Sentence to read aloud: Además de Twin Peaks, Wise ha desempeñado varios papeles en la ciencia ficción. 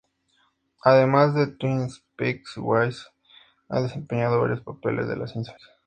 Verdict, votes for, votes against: rejected, 0, 2